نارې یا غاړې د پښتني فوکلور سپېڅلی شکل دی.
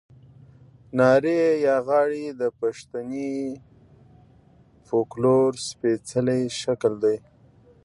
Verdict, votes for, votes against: rejected, 0, 2